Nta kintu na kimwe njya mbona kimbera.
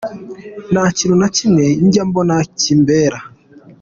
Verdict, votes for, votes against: rejected, 0, 2